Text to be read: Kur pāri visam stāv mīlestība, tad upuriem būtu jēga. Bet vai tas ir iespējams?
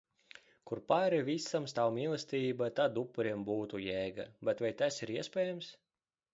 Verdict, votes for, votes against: accepted, 2, 0